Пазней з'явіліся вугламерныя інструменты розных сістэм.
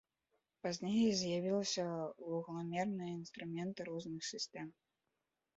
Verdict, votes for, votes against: rejected, 1, 2